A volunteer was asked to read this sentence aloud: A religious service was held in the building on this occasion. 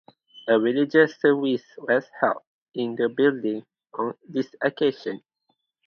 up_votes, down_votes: 2, 0